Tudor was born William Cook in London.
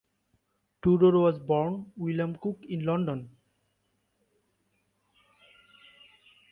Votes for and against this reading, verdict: 2, 0, accepted